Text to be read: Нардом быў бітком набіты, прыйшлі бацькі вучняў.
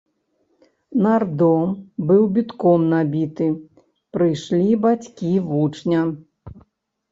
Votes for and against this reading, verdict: 1, 2, rejected